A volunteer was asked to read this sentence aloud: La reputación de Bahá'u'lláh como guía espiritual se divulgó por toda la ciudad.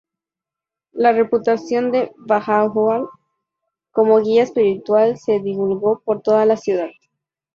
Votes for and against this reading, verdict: 2, 0, accepted